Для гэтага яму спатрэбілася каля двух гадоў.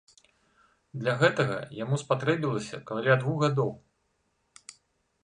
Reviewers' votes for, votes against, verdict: 2, 1, accepted